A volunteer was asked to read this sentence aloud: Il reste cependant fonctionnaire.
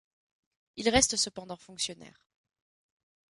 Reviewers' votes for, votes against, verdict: 2, 0, accepted